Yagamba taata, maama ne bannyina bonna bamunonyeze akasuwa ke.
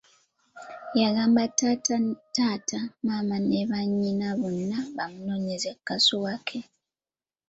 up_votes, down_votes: 1, 2